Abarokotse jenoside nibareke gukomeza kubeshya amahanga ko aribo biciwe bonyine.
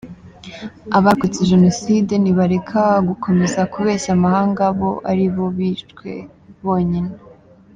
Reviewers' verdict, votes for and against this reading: rejected, 0, 2